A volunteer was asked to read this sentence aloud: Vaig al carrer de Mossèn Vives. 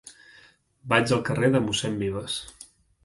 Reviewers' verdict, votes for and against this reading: accepted, 3, 0